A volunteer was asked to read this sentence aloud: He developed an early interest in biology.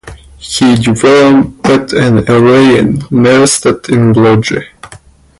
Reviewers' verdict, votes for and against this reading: rejected, 0, 2